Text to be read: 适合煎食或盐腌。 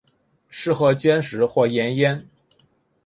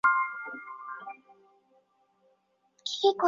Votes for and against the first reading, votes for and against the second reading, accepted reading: 2, 0, 0, 2, first